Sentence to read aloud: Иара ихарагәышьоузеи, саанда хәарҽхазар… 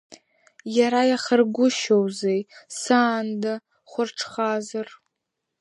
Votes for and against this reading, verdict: 1, 2, rejected